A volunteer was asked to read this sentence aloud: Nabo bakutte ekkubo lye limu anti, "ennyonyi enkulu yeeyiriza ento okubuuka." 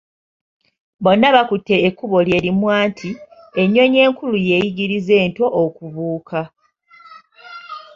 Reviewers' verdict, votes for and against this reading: accepted, 2, 0